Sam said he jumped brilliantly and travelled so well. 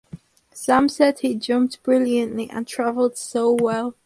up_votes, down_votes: 4, 0